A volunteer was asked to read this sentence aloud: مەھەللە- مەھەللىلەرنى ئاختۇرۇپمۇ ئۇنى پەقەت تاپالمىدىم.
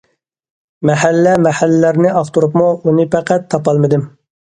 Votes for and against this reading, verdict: 2, 0, accepted